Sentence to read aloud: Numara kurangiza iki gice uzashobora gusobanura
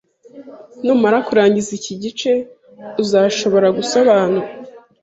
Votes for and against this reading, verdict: 3, 0, accepted